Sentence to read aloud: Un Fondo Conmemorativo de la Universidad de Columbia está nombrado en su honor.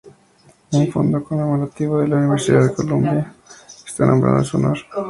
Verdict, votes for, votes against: accepted, 2, 0